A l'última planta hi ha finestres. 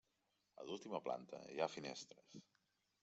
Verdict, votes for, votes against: accepted, 3, 1